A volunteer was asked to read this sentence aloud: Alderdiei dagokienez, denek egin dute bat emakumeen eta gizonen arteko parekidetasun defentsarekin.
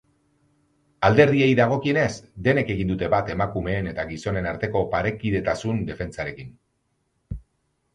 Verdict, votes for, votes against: accepted, 6, 0